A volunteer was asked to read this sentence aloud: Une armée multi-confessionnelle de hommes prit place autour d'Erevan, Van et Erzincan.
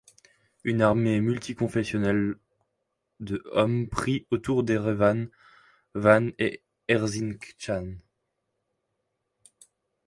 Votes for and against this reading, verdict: 0, 2, rejected